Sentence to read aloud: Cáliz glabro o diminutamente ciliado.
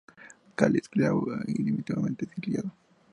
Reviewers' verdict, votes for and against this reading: accepted, 2, 0